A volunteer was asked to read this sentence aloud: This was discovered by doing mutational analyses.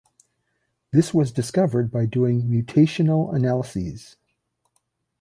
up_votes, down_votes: 2, 0